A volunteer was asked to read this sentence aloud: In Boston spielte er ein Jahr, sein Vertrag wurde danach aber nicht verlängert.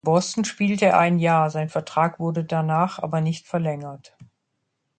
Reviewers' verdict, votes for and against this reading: rejected, 0, 2